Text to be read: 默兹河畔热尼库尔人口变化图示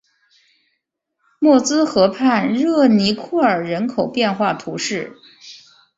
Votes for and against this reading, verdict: 2, 0, accepted